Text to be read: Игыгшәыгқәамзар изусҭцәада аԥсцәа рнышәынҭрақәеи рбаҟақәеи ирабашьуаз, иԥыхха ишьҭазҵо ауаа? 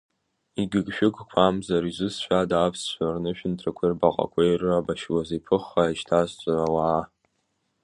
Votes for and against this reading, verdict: 2, 1, accepted